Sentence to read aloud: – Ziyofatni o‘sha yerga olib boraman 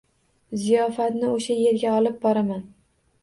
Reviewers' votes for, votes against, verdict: 2, 0, accepted